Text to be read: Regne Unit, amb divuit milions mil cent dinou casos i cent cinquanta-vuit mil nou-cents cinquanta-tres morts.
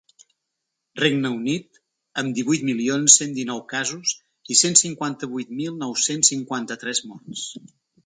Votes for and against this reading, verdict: 0, 2, rejected